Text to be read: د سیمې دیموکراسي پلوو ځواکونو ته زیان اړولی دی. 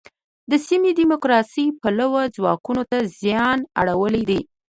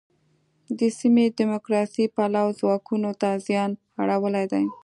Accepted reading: first